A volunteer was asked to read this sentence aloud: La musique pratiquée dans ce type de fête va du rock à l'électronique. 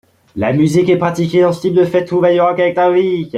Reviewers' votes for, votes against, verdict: 1, 2, rejected